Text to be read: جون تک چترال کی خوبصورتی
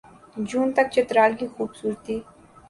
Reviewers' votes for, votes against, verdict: 8, 0, accepted